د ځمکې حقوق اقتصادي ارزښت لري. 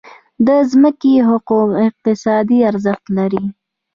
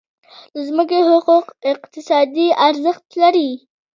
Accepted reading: second